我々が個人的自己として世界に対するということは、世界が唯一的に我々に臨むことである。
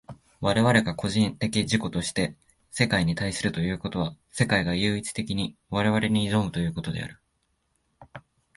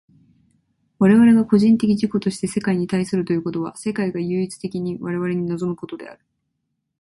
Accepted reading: second